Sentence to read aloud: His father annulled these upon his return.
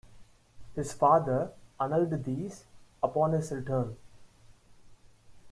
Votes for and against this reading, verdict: 0, 2, rejected